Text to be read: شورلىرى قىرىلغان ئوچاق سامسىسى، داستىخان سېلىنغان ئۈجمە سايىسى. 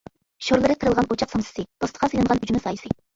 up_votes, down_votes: 0, 2